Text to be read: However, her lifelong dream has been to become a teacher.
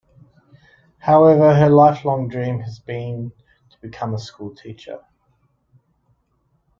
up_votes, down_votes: 0, 2